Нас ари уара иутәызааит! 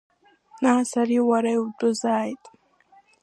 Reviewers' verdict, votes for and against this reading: accepted, 2, 0